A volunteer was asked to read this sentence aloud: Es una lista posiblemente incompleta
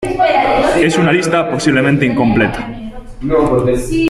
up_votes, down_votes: 2, 3